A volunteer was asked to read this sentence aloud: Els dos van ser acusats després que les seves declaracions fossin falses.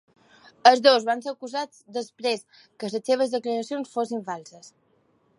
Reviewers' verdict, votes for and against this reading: accepted, 2, 0